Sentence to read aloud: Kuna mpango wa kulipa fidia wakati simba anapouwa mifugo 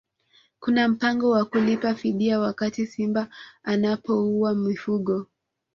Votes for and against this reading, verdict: 1, 2, rejected